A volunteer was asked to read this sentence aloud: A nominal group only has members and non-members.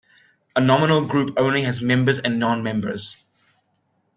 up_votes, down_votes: 2, 0